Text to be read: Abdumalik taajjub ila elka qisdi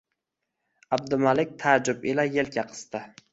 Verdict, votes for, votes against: accepted, 2, 0